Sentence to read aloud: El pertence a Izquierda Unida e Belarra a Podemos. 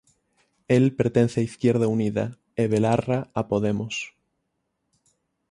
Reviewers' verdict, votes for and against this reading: accepted, 6, 0